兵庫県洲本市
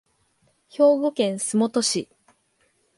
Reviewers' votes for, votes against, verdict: 2, 0, accepted